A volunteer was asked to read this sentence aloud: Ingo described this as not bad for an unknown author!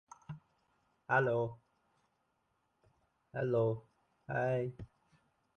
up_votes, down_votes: 0, 2